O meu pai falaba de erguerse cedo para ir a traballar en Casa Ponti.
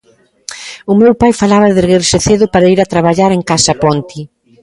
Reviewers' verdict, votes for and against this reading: accepted, 2, 0